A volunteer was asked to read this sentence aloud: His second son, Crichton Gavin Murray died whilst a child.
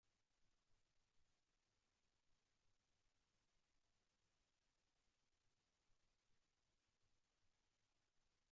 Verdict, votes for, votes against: rejected, 0, 2